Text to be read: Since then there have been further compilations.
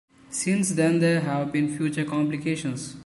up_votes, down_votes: 2, 1